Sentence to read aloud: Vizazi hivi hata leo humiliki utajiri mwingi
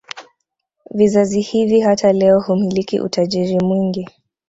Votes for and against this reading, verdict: 2, 0, accepted